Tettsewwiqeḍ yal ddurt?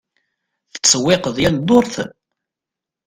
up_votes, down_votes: 2, 0